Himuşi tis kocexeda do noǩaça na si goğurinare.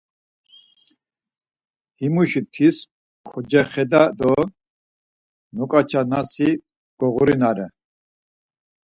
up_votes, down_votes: 4, 0